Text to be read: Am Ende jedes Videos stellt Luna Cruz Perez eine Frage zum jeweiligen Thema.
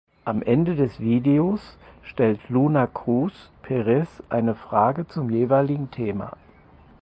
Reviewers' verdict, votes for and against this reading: rejected, 0, 4